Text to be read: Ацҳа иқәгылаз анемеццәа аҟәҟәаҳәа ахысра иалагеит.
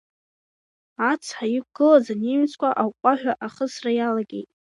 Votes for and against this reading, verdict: 2, 0, accepted